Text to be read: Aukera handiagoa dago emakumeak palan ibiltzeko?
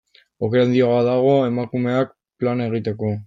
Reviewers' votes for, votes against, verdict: 0, 2, rejected